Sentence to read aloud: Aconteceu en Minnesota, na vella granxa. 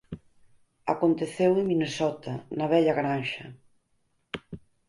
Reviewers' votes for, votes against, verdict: 4, 0, accepted